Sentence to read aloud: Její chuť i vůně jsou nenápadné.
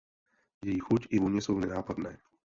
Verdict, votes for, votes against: accepted, 2, 0